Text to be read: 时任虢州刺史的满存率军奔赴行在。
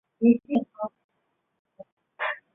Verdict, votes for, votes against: rejected, 0, 2